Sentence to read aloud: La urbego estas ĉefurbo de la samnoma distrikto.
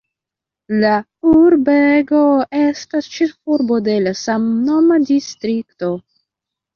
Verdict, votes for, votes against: rejected, 0, 2